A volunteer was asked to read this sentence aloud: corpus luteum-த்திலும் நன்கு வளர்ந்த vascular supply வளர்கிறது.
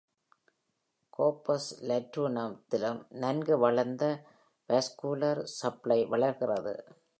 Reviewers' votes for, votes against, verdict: 1, 2, rejected